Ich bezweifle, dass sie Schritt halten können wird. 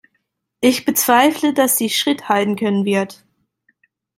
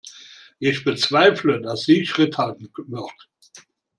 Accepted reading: first